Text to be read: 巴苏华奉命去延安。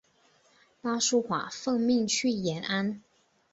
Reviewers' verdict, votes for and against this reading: accepted, 5, 0